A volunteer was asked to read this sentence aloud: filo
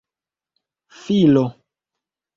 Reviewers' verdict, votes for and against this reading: accepted, 2, 0